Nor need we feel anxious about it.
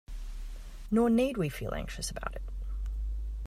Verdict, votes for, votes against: accepted, 2, 1